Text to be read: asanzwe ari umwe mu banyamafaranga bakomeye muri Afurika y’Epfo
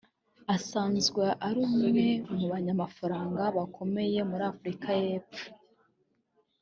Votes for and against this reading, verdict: 2, 0, accepted